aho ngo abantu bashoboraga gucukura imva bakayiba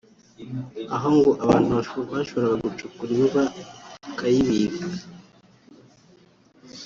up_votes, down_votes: 0, 2